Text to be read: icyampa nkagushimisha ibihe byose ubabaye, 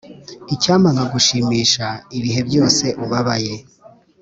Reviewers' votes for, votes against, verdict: 3, 0, accepted